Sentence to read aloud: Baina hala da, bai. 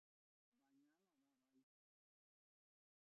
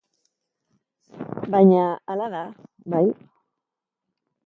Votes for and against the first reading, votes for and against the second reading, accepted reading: 0, 3, 2, 0, second